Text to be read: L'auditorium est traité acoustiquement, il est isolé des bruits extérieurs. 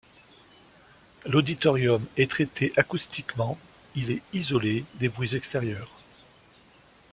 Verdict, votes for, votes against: accepted, 2, 0